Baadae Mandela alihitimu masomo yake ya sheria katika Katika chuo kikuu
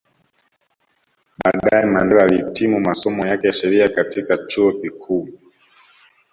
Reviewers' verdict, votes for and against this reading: rejected, 0, 2